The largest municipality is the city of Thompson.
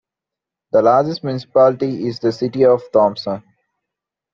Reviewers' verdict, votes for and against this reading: accepted, 2, 0